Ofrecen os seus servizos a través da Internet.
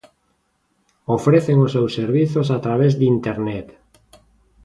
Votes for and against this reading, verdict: 0, 2, rejected